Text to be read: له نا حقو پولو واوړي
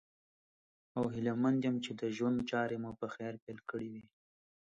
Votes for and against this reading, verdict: 2, 3, rejected